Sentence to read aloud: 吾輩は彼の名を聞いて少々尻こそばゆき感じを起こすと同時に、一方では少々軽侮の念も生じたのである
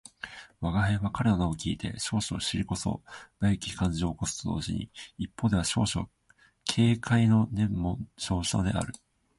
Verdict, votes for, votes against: accepted, 2, 0